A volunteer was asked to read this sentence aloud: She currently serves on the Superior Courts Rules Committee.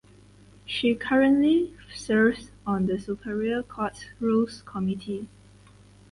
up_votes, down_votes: 4, 0